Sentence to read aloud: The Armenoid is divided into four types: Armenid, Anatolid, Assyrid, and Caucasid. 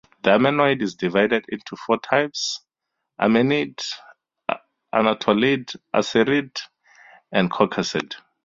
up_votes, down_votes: 2, 0